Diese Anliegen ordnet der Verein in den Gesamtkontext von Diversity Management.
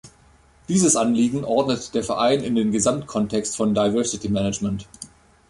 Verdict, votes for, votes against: rejected, 0, 2